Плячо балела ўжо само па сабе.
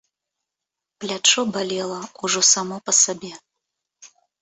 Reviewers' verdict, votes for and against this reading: accepted, 2, 0